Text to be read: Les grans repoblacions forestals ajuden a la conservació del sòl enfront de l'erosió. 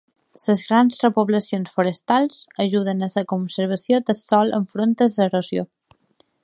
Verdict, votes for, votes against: rejected, 1, 2